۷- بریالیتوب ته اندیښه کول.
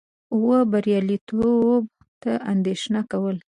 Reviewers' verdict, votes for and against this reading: rejected, 0, 2